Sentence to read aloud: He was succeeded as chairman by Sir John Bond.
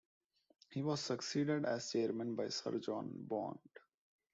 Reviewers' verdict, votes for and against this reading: accepted, 2, 0